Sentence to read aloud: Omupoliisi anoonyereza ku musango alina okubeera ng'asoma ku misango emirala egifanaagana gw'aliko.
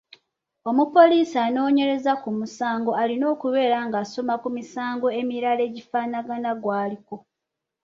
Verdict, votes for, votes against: accepted, 2, 0